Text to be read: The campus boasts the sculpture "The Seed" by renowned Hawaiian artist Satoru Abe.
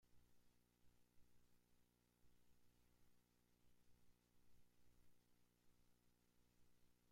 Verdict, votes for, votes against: rejected, 0, 2